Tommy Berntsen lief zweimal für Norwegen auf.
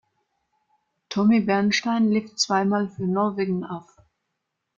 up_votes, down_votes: 0, 2